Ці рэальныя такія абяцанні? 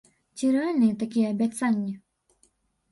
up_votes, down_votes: 2, 0